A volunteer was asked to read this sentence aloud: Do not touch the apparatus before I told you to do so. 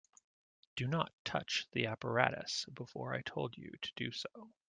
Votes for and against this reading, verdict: 2, 0, accepted